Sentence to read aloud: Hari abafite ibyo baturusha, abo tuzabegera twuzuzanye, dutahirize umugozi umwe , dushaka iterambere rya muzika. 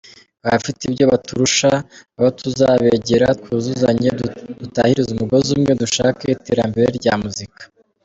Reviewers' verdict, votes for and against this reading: accepted, 2, 1